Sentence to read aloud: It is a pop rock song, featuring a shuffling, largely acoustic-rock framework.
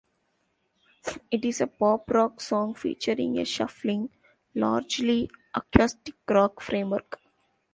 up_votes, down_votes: 2, 0